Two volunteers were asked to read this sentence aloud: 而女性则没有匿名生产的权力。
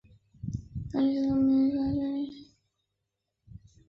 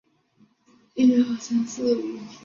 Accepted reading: second